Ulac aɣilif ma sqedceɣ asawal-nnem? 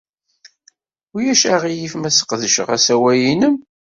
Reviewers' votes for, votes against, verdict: 2, 0, accepted